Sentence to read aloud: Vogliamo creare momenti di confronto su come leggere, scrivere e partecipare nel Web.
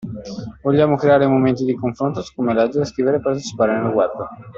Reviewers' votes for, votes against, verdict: 2, 0, accepted